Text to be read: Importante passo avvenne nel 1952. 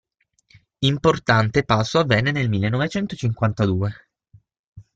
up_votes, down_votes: 0, 2